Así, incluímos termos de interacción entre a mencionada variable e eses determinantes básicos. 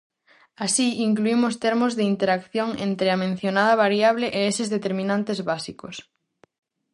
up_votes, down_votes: 4, 0